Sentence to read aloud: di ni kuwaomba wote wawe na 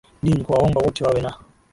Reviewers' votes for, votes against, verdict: 2, 0, accepted